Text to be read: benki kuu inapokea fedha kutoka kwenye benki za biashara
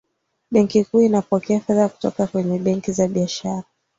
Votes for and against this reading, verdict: 2, 0, accepted